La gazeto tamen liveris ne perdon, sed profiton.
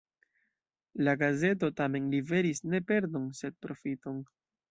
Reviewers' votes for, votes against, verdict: 2, 0, accepted